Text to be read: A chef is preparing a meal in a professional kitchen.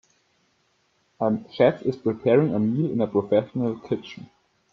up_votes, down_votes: 2, 1